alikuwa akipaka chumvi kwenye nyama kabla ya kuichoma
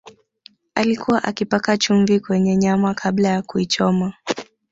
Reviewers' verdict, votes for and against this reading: accepted, 3, 0